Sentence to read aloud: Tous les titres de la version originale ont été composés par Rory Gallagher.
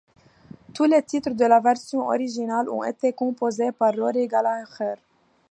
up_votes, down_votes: 1, 2